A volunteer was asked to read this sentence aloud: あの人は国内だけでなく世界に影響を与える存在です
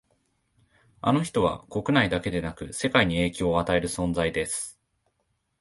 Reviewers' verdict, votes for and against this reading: accepted, 4, 0